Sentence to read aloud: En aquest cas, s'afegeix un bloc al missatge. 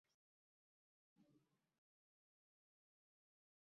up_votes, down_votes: 0, 3